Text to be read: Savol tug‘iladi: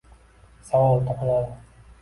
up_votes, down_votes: 1, 2